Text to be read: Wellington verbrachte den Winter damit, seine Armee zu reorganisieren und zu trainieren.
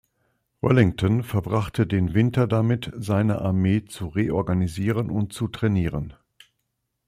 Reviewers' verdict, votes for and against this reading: accepted, 2, 0